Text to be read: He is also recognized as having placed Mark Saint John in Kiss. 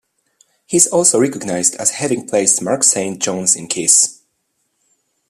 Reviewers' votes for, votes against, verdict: 0, 2, rejected